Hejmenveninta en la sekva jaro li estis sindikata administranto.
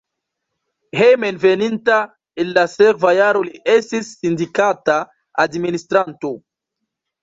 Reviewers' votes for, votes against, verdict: 1, 2, rejected